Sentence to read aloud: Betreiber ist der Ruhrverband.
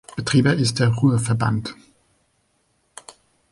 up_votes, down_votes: 0, 2